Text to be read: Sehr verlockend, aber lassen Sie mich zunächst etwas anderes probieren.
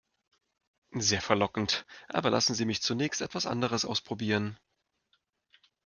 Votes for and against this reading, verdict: 0, 2, rejected